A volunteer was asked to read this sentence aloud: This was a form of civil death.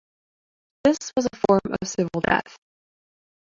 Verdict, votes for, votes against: accepted, 2, 0